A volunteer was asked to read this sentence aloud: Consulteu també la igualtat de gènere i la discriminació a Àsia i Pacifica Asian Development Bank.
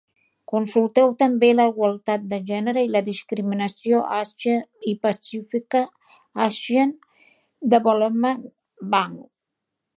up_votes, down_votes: 0, 2